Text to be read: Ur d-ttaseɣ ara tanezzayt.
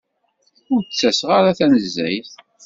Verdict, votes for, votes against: accepted, 2, 0